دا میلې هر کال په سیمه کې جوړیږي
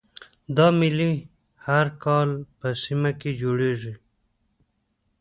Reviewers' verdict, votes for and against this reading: rejected, 1, 2